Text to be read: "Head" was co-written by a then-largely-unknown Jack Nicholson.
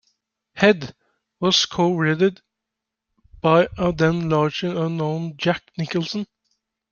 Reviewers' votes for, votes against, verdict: 1, 2, rejected